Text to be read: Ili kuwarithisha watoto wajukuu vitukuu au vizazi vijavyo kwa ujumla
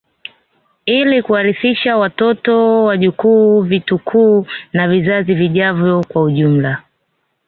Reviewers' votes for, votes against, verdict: 0, 2, rejected